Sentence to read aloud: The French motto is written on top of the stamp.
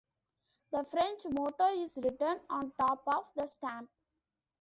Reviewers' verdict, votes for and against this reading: accepted, 2, 1